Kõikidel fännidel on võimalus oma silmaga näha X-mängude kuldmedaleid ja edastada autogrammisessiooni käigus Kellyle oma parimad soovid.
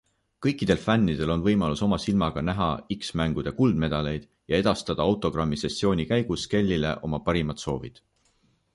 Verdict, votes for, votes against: accepted, 2, 0